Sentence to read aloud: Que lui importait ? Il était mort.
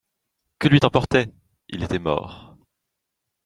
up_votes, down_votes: 0, 2